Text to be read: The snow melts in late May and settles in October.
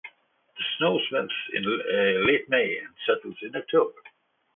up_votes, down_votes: 0, 2